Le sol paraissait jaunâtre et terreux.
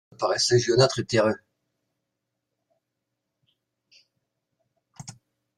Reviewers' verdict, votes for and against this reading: rejected, 0, 2